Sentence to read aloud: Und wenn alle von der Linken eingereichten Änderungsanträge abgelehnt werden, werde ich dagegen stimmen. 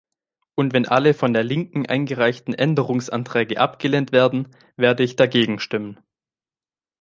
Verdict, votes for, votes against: accepted, 2, 0